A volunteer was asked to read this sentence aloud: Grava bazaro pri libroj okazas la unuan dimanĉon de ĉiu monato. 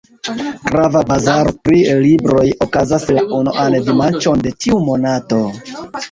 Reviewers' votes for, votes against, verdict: 2, 1, accepted